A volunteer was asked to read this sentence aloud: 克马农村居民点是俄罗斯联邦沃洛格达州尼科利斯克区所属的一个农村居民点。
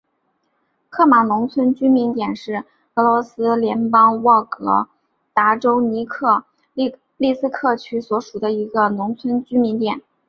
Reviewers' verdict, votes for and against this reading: accepted, 7, 0